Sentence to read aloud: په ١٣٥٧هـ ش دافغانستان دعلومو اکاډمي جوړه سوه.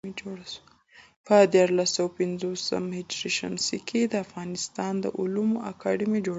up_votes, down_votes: 0, 2